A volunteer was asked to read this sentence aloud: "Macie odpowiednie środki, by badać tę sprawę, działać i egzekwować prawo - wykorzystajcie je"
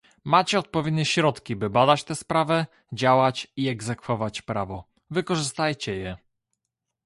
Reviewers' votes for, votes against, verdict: 2, 0, accepted